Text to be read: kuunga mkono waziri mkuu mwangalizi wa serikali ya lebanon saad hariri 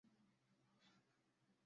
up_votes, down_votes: 0, 2